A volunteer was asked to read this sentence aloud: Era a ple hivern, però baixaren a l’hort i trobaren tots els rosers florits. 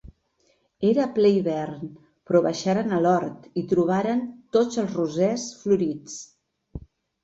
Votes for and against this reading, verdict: 3, 0, accepted